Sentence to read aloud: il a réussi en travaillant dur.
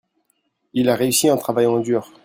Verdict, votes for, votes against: accepted, 2, 0